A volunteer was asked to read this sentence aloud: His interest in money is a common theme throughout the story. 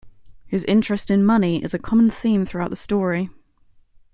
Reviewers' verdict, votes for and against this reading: accepted, 2, 0